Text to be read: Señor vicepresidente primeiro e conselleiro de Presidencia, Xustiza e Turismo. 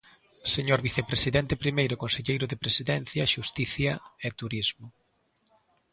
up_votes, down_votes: 0, 2